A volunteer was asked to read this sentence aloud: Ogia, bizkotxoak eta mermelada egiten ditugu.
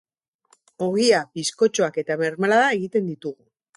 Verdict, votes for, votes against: rejected, 2, 4